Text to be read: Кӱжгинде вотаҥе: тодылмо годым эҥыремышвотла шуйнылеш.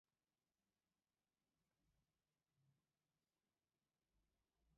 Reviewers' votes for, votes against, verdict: 1, 2, rejected